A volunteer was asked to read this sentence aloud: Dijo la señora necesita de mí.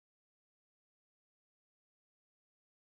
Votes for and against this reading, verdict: 0, 2, rejected